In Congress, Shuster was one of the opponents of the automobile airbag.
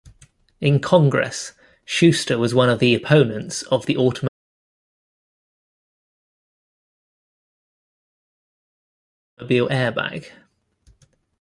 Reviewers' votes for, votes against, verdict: 1, 2, rejected